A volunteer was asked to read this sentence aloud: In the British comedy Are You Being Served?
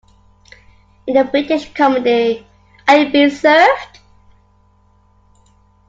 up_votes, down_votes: 2, 1